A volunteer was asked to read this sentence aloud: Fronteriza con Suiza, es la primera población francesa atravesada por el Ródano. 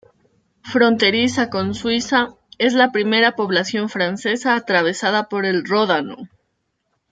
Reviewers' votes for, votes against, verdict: 2, 1, accepted